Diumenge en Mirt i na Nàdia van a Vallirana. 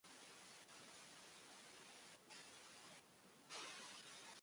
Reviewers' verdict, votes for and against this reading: rejected, 1, 2